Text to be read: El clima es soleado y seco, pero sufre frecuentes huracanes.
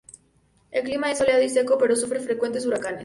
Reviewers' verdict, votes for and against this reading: rejected, 0, 2